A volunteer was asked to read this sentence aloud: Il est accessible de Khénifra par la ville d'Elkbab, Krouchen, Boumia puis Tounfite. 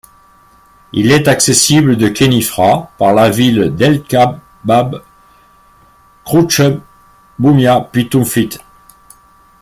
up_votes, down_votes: 0, 2